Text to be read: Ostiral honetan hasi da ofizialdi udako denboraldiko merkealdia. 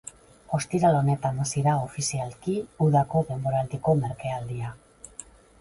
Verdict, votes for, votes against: accepted, 2, 0